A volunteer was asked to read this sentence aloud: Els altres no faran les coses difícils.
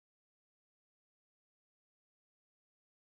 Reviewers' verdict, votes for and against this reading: rejected, 0, 3